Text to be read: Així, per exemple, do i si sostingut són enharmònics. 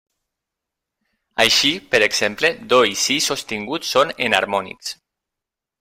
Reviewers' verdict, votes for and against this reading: accepted, 2, 0